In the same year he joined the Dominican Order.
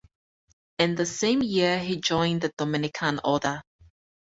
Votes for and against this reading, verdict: 2, 2, rejected